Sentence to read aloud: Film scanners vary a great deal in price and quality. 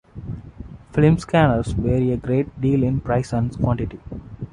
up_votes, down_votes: 0, 2